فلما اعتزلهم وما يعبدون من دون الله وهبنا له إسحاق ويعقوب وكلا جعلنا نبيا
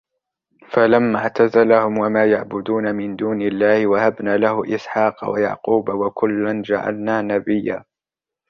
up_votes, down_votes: 0, 2